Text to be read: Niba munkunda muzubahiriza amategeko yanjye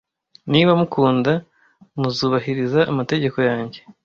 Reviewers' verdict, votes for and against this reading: rejected, 1, 2